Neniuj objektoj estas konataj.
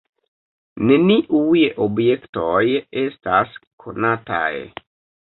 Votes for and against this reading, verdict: 2, 0, accepted